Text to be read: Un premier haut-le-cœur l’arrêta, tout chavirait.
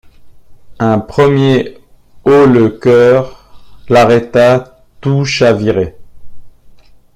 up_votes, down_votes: 2, 1